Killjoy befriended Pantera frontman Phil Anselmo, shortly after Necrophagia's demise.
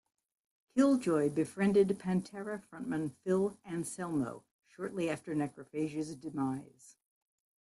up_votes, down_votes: 2, 1